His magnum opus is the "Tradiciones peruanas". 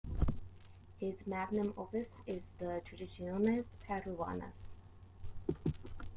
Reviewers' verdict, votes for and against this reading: accepted, 2, 0